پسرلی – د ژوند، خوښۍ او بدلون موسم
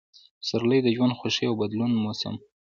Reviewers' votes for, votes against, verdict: 1, 2, rejected